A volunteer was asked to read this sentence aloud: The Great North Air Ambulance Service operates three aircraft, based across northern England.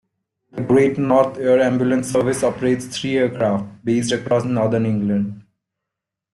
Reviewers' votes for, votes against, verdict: 2, 0, accepted